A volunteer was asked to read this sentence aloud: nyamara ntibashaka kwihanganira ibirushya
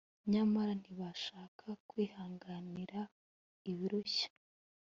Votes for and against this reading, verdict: 2, 0, accepted